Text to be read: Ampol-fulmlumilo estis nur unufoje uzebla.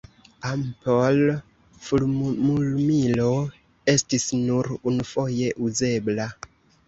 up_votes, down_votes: 0, 2